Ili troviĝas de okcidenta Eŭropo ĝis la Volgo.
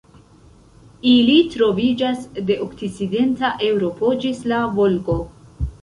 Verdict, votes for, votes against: accepted, 2, 1